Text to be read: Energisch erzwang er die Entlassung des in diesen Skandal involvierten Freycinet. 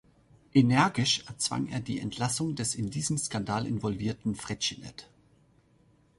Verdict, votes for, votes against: rejected, 0, 2